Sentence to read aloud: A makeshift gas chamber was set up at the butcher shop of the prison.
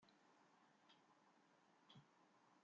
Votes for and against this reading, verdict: 0, 2, rejected